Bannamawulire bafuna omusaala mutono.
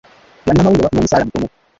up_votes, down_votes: 1, 2